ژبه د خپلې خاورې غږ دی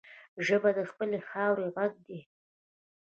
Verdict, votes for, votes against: accepted, 2, 0